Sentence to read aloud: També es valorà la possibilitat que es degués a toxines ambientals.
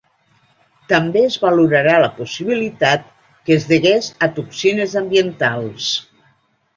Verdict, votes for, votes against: rejected, 0, 2